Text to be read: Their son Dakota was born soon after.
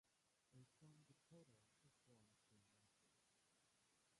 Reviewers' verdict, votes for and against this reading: rejected, 0, 2